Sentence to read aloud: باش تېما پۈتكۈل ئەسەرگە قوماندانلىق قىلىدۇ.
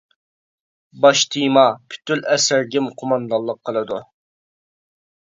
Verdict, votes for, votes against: rejected, 0, 2